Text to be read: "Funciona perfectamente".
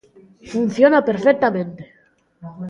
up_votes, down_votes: 1, 2